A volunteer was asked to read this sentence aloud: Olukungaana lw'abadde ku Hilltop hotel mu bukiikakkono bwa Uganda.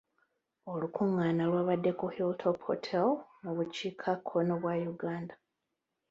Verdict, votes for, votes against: rejected, 1, 2